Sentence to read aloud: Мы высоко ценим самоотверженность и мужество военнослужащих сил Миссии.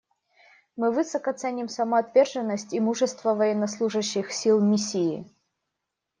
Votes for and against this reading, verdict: 1, 2, rejected